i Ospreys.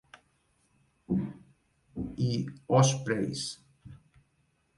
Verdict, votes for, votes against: rejected, 0, 2